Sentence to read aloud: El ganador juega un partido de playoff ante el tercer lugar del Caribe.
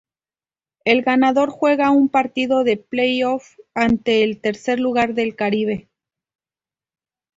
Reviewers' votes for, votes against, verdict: 2, 0, accepted